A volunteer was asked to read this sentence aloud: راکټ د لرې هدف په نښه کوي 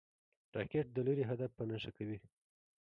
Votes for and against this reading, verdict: 0, 2, rejected